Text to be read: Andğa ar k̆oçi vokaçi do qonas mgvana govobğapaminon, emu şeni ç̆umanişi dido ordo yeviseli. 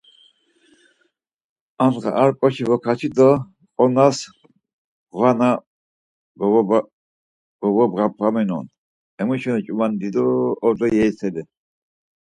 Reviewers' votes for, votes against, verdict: 2, 4, rejected